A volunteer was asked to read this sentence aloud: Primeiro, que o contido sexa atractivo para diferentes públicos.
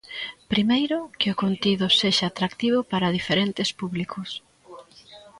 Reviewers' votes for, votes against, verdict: 1, 2, rejected